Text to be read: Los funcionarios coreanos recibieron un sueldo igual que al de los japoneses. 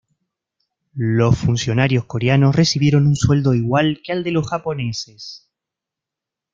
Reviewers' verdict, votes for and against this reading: accepted, 2, 0